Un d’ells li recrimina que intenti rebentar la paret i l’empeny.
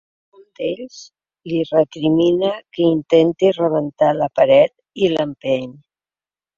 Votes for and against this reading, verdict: 3, 0, accepted